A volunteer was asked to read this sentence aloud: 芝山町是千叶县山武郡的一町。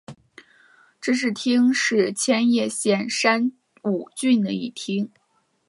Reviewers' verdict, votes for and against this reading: accepted, 2, 0